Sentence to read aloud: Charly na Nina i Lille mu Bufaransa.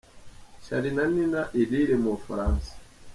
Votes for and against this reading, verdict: 4, 0, accepted